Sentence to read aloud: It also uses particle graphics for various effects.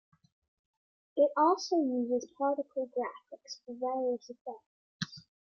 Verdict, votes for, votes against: accepted, 3, 0